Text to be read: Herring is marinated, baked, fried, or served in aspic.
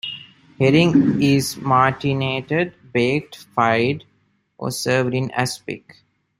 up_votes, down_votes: 0, 2